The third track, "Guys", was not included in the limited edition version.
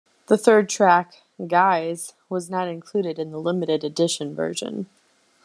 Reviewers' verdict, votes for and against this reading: accepted, 2, 0